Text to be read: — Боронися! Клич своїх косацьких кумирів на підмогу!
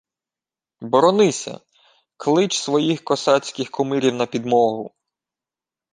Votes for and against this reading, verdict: 2, 0, accepted